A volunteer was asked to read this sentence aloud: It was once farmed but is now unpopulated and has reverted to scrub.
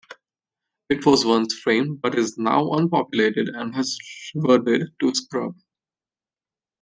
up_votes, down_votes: 0, 2